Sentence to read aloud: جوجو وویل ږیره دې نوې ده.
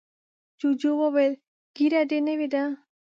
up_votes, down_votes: 2, 0